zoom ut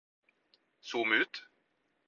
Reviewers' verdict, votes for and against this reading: accepted, 4, 0